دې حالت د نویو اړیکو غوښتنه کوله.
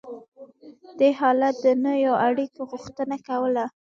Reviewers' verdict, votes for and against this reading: rejected, 1, 2